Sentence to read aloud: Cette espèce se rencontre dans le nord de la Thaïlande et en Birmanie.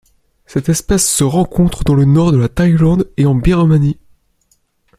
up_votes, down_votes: 2, 0